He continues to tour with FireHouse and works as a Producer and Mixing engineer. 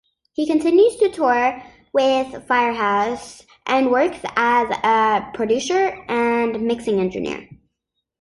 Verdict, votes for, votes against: accepted, 2, 1